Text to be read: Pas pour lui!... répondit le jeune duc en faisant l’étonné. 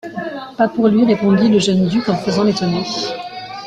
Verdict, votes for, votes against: accepted, 2, 1